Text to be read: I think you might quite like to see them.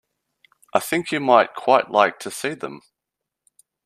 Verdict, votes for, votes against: accepted, 2, 0